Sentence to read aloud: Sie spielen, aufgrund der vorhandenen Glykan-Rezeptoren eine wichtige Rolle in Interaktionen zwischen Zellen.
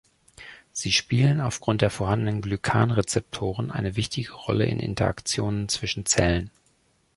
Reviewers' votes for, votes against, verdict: 1, 2, rejected